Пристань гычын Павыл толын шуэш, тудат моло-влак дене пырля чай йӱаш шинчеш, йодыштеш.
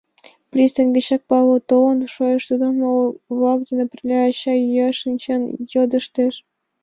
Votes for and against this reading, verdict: 0, 2, rejected